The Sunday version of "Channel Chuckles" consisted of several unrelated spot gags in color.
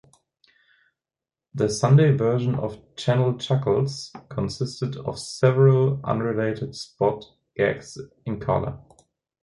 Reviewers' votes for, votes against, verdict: 2, 0, accepted